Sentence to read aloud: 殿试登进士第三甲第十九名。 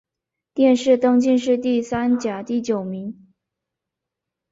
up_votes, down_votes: 0, 2